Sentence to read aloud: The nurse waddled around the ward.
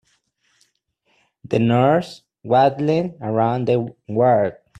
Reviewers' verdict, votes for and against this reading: rejected, 1, 2